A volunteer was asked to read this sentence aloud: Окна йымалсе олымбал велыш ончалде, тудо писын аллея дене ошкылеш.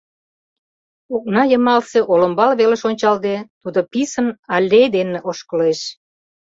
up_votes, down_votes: 1, 2